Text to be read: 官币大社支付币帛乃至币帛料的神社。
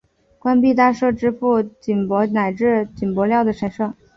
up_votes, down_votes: 2, 0